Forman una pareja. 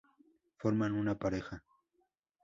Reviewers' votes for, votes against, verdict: 2, 0, accepted